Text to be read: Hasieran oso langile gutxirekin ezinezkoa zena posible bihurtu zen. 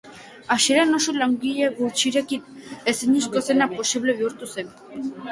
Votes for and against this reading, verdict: 3, 0, accepted